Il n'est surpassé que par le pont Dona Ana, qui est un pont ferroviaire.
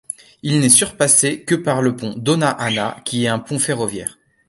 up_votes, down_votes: 1, 2